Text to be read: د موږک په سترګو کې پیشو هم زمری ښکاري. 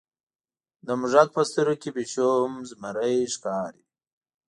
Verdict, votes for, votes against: accepted, 2, 0